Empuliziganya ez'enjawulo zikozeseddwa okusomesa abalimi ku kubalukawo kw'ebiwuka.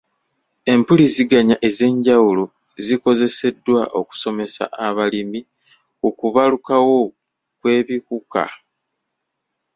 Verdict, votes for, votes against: accepted, 2, 0